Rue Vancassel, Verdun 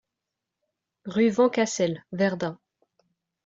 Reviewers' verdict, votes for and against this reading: accepted, 2, 0